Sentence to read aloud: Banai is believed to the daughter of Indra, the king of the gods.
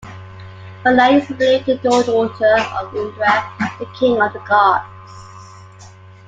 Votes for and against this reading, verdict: 2, 1, accepted